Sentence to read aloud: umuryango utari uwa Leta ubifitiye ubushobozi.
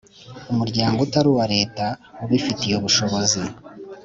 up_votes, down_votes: 2, 0